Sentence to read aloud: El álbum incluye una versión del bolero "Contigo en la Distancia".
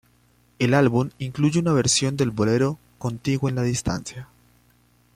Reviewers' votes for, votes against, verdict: 2, 0, accepted